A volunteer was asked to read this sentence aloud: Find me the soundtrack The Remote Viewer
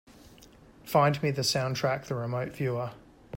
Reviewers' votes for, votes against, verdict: 2, 0, accepted